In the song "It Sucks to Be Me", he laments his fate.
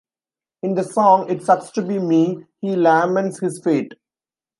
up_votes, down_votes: 4, 2